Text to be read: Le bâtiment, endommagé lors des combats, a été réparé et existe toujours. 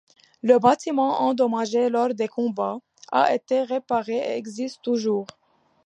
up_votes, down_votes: 2, 1